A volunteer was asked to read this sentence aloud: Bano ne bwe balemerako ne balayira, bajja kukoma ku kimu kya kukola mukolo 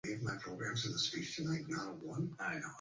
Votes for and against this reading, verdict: 0, 2, rejected